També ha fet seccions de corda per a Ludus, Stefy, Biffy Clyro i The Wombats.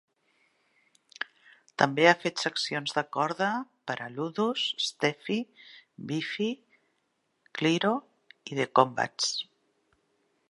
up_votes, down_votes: 0, 2